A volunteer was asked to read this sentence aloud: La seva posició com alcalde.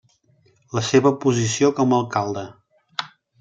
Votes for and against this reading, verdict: 2, 0, accepted